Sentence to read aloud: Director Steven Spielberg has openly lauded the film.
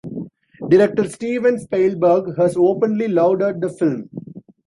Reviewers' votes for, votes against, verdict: 2, 0, accepted